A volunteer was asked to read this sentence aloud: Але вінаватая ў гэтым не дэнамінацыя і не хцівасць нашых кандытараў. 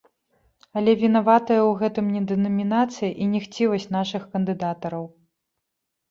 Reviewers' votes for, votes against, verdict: 0, 2, rejected